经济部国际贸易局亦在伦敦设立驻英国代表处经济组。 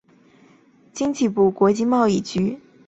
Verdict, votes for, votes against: rejected, 0, 2